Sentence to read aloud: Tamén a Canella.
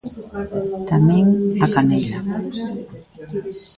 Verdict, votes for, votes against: rejected, 0, 2